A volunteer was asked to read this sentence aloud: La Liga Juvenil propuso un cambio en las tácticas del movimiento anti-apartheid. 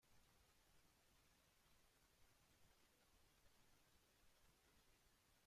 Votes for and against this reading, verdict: 1, 2, rejected